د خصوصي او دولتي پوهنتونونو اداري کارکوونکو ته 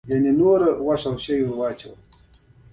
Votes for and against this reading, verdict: 2, 0, accepted